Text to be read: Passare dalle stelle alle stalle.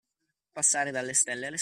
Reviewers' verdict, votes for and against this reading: rejected, 1, 2